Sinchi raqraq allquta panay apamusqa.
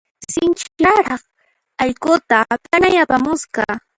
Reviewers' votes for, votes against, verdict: 0, 2, rejected